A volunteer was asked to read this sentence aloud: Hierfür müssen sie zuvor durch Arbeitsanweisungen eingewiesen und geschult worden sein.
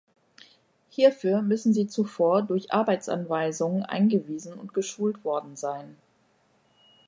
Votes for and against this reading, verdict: 2, 0, accepted